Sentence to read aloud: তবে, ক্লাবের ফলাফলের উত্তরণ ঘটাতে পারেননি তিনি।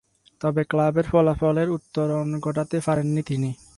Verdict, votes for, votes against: rejected, 0, 4